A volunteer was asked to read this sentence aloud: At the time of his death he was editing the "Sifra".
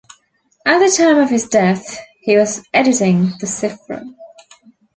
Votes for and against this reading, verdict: 2, 1, accepted